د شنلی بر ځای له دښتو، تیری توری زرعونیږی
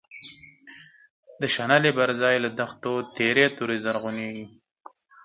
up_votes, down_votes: 12, 2